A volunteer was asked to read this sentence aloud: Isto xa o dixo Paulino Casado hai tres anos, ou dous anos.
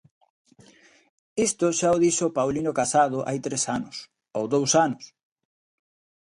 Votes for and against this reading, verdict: 2, 0, accepted